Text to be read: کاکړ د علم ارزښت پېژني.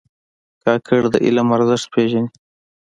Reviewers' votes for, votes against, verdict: 2, 1, accepted